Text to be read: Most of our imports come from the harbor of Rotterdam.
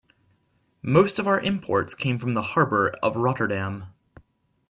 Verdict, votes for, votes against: rejected, 1, 2